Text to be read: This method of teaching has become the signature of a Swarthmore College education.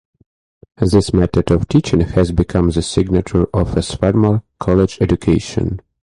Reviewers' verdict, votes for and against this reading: rejected, 2, 2